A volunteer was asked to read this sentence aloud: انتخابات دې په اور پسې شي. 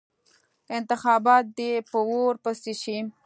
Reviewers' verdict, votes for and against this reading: accepted, 2, 0